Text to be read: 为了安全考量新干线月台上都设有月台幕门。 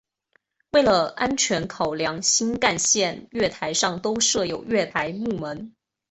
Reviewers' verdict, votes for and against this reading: accepted, 2, 0